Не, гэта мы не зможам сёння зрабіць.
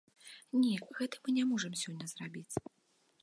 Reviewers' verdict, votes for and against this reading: rejected, 0, 2